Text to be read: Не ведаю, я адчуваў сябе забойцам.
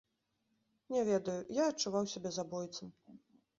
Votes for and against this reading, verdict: 2, 0, accepted